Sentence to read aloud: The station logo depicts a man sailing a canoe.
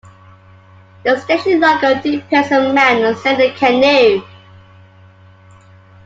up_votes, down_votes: 0, 2